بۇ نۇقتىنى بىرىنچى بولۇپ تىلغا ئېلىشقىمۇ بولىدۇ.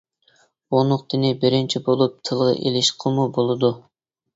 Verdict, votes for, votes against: rejected, 1, 2